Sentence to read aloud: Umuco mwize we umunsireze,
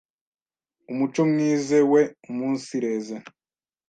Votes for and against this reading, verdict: 1, 2, rejected